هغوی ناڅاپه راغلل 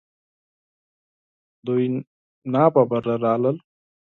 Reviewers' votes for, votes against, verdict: 0, 4, rejected